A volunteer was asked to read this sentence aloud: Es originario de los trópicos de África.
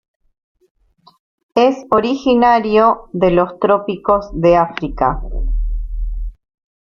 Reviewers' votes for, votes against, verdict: 2, 0, accepted